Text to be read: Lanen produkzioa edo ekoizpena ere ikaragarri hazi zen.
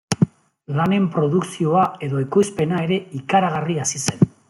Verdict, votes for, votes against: accepted, 2, 0